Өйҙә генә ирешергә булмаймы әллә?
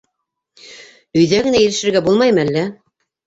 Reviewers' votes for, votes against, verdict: 1, 2, rejected